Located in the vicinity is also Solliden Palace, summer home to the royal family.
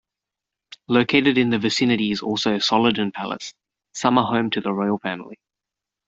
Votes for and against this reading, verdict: 3, 0, accepted